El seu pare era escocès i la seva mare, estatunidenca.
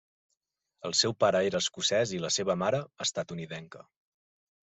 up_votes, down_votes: 2, 0